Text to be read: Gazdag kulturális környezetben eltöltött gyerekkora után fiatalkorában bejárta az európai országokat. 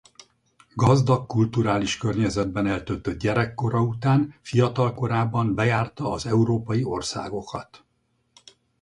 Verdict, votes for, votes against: accepted, 4, 0